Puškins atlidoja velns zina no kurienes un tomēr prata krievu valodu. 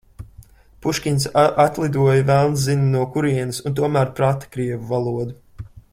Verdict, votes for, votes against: rejected, 0, 2